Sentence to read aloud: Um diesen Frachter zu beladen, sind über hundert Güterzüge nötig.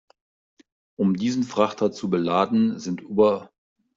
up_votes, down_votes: 0, 2